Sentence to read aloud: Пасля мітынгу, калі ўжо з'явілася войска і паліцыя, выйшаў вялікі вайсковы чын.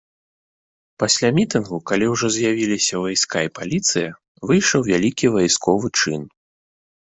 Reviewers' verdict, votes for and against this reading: rejected, 0, 2